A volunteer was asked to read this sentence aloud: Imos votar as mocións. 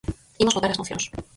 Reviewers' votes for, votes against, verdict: 0, 4, rejected